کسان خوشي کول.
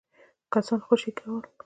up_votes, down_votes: 0, 2